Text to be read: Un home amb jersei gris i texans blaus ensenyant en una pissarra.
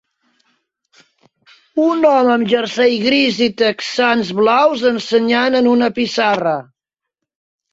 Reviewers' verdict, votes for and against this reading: accepted, 3, 1